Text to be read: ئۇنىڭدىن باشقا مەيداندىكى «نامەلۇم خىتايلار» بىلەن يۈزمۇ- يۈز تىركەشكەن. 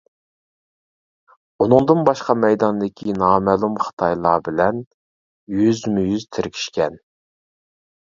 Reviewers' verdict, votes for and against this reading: rejected, 1, 2